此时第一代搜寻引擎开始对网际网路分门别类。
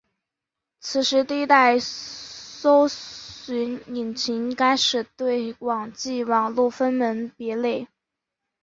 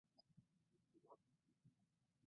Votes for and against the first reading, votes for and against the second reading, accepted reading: 2, 0, 1, 3, first